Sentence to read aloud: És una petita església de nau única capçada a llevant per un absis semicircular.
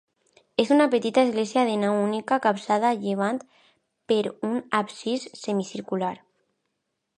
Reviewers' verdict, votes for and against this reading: accepted, 2, 0